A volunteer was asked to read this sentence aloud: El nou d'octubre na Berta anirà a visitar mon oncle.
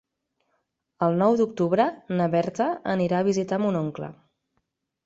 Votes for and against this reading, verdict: 8, 0, accepted